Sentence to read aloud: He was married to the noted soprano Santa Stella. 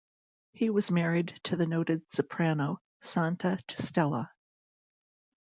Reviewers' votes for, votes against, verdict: 1, 2, rejected